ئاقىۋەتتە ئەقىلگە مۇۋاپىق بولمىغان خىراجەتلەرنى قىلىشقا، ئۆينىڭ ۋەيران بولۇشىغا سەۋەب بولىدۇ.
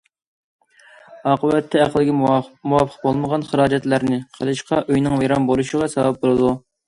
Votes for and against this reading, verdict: 0, 2, rejected